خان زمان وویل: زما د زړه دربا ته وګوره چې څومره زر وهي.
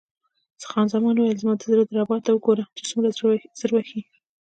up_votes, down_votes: 1, 2